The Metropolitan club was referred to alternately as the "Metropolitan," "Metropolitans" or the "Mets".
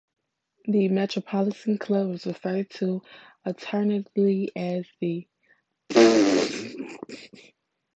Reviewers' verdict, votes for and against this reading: accepted, 2, 0